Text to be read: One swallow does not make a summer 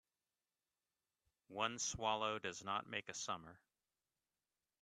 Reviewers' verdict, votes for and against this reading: accepted, 2, 0